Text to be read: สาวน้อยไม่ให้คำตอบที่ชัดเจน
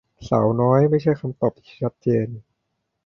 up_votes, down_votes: 0, 2